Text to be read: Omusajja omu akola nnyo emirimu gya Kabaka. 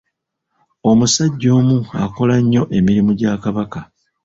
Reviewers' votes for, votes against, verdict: 2, 0, accepted